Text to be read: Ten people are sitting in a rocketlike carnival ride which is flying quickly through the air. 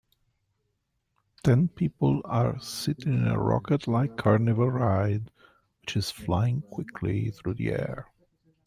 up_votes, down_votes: 1, 2